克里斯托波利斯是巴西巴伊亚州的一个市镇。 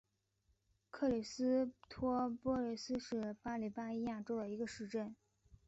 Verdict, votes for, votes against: rejected, 2, 3